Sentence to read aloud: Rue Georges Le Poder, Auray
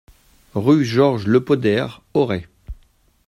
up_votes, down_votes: 2, 0